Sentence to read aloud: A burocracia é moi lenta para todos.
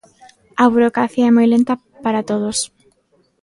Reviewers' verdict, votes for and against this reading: accepted, 2, 0